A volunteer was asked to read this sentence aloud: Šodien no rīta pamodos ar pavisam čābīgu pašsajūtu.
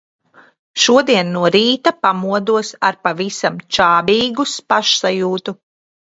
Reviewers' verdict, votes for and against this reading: rejected, 1, 2